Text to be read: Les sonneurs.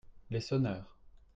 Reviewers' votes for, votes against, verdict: 2, 0, accepted